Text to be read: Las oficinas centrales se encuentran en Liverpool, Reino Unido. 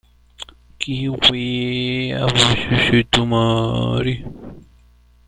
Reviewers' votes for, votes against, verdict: 0, 2, rejected